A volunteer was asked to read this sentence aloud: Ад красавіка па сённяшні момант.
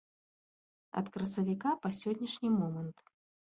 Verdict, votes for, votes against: accepted, 2, 0